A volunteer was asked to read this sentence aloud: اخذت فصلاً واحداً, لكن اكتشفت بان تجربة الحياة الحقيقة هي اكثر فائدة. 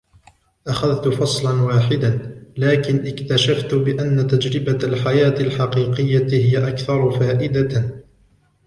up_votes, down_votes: 1, 2